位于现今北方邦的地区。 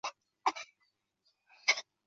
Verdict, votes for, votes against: rejected, 2, 6